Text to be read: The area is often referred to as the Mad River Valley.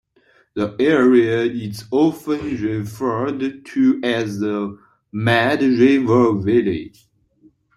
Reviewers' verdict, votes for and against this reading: accepted, 2, 1